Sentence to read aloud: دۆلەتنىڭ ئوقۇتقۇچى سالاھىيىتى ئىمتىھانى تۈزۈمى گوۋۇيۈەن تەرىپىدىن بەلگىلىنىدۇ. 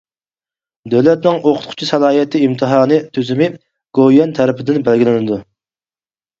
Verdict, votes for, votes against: rejected, 2, 4